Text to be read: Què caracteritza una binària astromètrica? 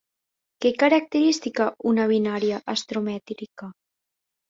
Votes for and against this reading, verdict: 1, 2, rejected